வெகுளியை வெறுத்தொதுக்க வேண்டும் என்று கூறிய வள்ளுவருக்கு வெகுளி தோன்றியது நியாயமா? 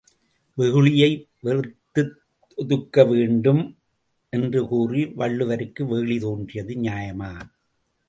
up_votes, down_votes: 2, 0